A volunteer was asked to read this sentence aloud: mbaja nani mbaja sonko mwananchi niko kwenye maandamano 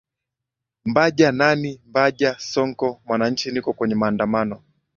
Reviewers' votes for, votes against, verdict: 2, 1, accepted